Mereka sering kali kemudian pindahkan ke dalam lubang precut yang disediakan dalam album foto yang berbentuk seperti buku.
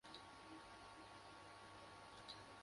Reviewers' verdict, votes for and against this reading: rejected, 0, 2